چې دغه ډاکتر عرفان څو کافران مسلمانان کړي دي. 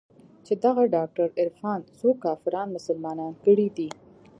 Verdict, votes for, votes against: rejected, 1, 2